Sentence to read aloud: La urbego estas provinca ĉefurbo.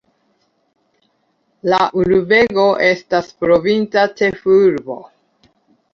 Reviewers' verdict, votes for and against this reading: accepted, 2, 1